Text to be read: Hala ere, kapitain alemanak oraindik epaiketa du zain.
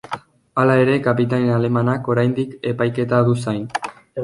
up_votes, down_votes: 2, 0